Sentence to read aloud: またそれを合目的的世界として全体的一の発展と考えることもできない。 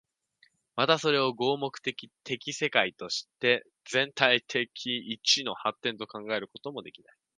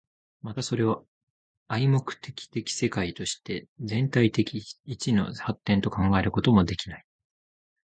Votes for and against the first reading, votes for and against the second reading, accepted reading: 1, 2, 3, 1, second